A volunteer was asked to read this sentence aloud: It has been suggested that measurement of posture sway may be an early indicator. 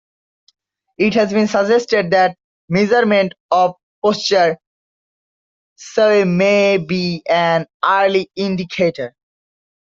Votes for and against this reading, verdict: 0, 2, rejected